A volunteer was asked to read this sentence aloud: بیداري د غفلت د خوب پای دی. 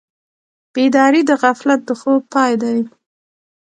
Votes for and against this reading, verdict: 2, 1, accepted